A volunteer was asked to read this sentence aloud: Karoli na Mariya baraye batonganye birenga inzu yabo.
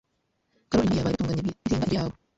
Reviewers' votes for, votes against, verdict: 1, 2, rejected